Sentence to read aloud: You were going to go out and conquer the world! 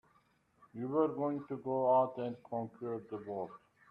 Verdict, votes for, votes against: rejected, 2, 4